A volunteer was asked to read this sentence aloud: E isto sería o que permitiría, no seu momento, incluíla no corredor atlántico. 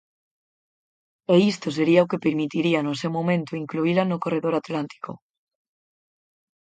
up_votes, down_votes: 4, 0